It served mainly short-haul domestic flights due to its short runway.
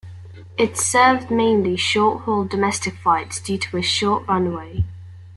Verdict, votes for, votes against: accepted, 2, 1